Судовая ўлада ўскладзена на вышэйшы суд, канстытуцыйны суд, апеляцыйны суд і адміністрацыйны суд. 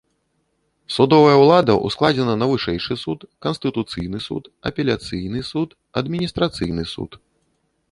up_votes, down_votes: 0, 2